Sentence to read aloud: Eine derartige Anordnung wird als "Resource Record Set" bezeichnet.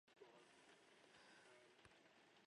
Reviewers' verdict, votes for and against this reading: rejected, 0, 2